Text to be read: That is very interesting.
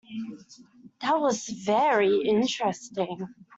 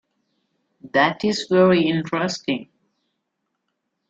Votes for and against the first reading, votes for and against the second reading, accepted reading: 1, 2, 2, 0, second